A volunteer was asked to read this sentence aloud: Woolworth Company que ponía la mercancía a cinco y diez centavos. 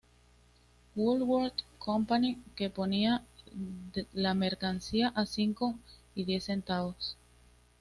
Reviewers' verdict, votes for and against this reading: accepted, 2, 0